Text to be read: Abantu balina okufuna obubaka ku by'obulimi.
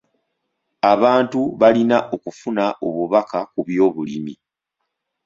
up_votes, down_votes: 2, 0